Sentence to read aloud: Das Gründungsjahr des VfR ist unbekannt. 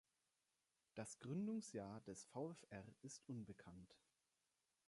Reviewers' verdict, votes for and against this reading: accepted, 2, 0